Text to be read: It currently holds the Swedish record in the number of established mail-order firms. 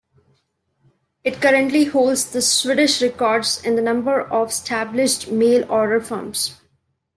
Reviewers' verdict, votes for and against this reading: rejected, 0, 2